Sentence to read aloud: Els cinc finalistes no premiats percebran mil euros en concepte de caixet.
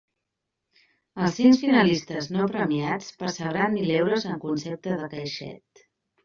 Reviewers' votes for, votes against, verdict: 2, 1, accepted